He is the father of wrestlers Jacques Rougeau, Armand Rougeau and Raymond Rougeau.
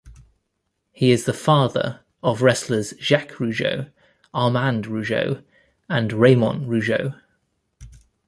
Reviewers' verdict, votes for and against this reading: accepted, 2, 0